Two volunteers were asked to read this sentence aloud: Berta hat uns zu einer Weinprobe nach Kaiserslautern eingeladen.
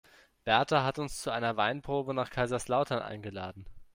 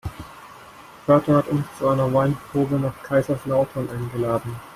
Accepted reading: first